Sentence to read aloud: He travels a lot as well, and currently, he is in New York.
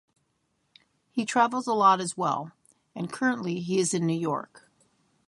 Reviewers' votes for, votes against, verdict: 3, 0, accepted